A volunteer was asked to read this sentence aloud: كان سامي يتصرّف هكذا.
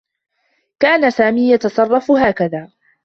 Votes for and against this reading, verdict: 2, 0, accepted